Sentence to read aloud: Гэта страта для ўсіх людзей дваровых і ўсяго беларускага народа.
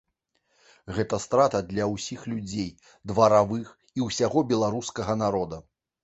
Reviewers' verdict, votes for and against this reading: rejected, 0, 2